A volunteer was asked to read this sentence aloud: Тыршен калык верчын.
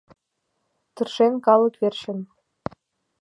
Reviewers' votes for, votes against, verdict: 2, 0, accepted